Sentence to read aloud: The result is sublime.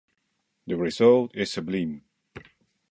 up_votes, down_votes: 1, 2